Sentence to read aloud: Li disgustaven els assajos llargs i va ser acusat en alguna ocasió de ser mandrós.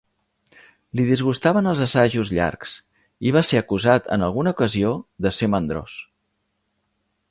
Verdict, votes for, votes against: accepted, 2, 0